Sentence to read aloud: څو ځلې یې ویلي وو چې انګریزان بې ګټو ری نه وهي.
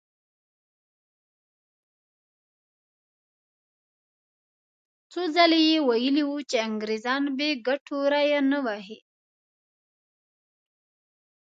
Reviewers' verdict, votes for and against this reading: rejected, 0, 2